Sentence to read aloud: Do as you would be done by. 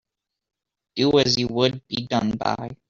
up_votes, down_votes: 0, 2